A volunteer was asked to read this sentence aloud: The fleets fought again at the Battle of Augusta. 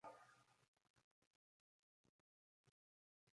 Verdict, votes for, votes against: rejected, 0, 2